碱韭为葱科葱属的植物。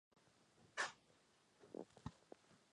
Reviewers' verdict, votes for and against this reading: rejected, 0, 3